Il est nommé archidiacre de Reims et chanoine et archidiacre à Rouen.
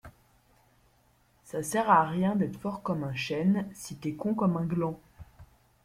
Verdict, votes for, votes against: rejected, 0, 2